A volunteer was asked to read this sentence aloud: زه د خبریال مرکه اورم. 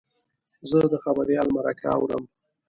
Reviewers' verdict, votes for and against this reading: accepted, 2, 1